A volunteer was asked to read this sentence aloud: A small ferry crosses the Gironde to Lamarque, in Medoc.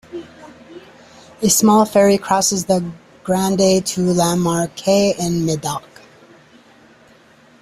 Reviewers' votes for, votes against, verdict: 1, 2, rejected